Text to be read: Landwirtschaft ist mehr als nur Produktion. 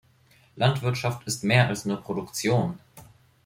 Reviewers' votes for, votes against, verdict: 3, 0, accepted